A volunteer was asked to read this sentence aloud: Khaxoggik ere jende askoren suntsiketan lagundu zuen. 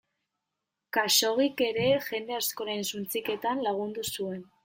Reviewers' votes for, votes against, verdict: 2, 0, accepted